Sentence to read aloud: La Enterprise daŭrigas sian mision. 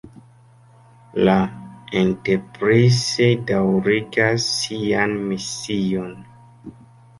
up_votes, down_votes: 2, 0